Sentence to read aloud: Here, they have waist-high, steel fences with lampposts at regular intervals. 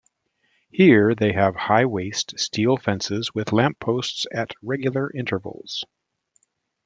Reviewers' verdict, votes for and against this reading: rejected, 2, 3